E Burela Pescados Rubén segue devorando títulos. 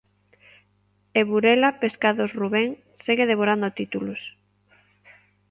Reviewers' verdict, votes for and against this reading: accepted, 3, 0